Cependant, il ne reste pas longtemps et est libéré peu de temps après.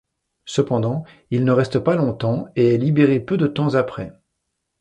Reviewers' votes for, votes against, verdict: 2, 0, accepted